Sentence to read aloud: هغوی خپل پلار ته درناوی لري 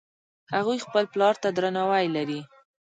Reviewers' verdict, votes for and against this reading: rejected, 0, 2